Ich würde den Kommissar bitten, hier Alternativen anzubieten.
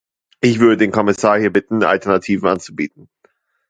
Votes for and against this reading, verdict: 0, 2, rejected